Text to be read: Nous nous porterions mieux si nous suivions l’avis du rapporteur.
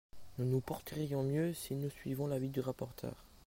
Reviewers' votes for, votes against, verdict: 0, 2, rejected